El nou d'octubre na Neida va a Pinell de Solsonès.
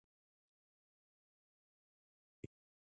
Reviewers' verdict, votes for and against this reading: rejected, 0, 2